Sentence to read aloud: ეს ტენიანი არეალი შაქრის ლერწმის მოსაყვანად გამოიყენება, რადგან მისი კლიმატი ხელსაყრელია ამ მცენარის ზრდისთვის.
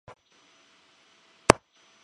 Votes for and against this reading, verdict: 1, 2, rejected